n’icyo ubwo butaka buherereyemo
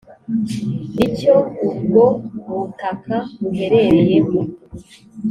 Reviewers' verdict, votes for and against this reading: accepted, 2, 0